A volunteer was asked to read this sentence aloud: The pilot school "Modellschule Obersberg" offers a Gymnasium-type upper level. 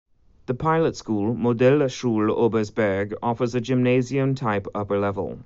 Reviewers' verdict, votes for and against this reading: accepted, 2, 0